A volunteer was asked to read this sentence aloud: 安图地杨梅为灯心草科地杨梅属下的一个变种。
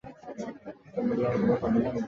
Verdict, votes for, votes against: rejected, 0, 2